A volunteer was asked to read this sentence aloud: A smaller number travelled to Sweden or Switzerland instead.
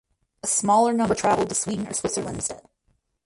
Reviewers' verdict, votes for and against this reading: rejected, 2, 4